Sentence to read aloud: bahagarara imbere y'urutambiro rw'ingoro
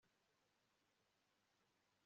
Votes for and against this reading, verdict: 1, 2, rejected